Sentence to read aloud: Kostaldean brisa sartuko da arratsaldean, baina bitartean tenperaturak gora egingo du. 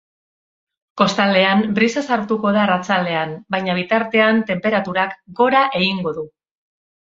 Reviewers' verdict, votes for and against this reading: accepted, 2, 0